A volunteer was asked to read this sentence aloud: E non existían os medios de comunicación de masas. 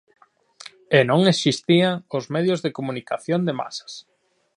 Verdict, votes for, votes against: accepted, 2, 1